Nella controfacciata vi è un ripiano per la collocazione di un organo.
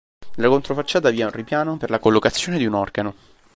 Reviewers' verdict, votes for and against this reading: rejected, 1, 2